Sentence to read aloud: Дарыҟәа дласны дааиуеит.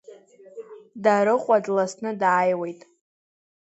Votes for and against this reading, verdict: 2, 0, accepted